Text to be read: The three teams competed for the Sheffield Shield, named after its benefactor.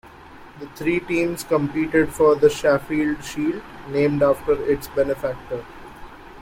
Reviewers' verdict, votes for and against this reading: rejected, 0, 2